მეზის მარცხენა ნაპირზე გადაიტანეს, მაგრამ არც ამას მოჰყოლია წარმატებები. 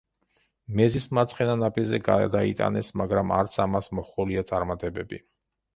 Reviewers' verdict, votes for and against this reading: rejected, 1, 2